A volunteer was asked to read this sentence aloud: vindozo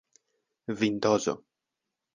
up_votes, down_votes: 1, 2